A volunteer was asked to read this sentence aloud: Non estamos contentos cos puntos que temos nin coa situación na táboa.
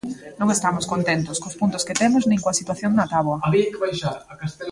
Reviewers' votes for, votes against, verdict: 0, 2, rejected